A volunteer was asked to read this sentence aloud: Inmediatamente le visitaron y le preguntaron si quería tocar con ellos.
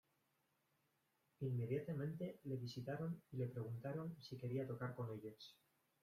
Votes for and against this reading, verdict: 1, 2, rejected